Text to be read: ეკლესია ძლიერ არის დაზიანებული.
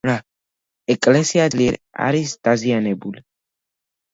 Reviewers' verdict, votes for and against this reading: rejected, 1, 2